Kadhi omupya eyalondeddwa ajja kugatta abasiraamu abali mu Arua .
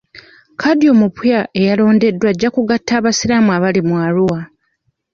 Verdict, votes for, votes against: rejected, 1, 2